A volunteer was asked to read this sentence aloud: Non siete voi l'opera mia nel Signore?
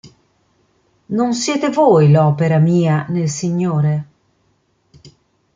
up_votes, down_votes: 2, 0